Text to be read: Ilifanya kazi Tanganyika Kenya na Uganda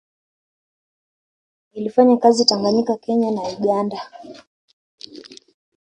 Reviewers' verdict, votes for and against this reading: rejected, 2, 3